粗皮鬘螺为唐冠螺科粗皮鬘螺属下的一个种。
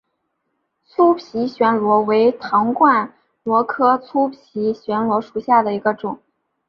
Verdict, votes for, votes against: accepted, 2, 0